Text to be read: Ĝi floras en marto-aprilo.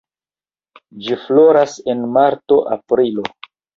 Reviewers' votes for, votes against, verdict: 2, 0, accepted